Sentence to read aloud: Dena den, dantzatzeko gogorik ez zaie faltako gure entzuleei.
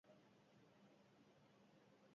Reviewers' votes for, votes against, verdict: 0, 4, rejected